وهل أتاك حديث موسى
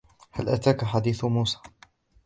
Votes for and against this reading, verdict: 2, 0, accepted